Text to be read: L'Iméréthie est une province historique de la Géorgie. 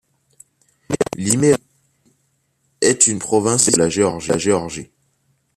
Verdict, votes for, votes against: rejected, 0, 2